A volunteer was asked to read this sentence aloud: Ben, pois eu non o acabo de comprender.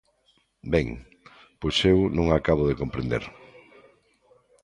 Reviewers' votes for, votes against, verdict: 1, 2, rejected